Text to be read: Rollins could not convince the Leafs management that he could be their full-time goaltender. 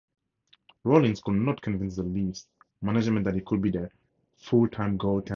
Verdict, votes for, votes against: rejected, 0, 6